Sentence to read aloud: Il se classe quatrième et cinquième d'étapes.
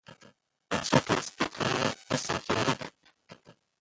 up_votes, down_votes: 0, 2